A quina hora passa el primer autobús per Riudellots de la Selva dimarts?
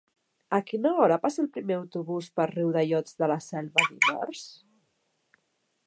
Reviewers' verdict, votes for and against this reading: rejected, 1, 3